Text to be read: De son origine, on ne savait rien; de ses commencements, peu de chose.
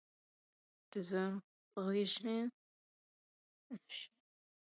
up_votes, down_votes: 0, 2